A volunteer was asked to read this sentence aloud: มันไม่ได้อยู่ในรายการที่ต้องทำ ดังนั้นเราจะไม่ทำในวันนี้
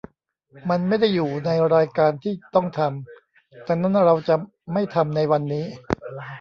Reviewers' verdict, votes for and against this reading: rejected, 0, 2